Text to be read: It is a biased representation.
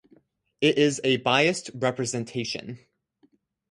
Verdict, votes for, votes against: accepted, 4, 0